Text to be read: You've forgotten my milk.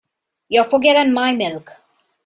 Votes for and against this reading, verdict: 2, 0, accepted